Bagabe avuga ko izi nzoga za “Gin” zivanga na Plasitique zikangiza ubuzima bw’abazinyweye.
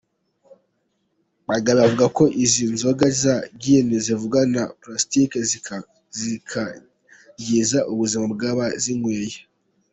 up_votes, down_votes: 0, 2